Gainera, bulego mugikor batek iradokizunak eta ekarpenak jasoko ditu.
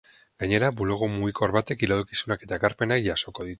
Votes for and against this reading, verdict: 0, 2, rejected